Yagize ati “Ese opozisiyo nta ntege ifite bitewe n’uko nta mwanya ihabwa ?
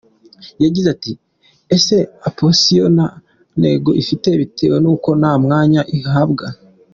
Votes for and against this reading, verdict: 2, 1, accepted